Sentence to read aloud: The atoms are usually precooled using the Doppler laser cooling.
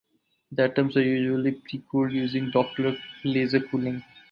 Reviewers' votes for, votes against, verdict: 2, 0, accepted